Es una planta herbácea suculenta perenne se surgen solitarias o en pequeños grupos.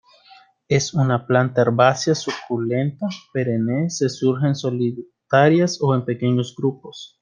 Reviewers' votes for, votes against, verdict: 2, 1, accepted